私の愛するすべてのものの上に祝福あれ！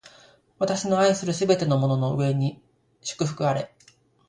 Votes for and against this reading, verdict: 2, 0, accepted